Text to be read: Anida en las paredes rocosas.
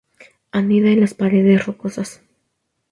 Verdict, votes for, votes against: accepted, 2, 0